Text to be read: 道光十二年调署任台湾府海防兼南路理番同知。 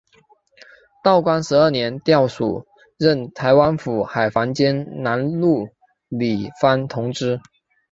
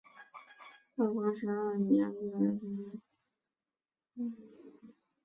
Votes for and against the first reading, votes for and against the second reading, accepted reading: 3, 1, 0, 3, first